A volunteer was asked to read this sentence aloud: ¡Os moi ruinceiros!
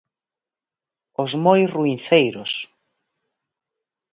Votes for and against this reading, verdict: 4, 0, accepted